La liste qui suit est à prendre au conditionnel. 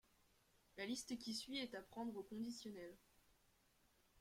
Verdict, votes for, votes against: rejected, 1, 2